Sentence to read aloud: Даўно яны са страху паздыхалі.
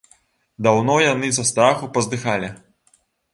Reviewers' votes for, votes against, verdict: 2, 1, accepted